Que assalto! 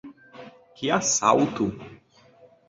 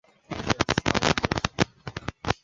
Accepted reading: first